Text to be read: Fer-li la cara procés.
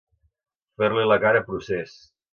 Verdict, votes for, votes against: accepted, 2, 0